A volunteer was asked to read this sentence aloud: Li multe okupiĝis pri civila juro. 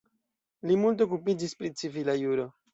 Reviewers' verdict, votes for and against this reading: accepted, 2, 0